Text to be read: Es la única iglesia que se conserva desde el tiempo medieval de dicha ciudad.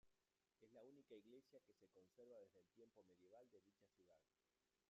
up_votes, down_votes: 0, 2